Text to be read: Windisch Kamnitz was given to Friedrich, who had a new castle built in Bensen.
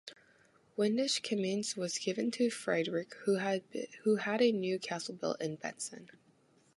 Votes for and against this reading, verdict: 1, 2, rejected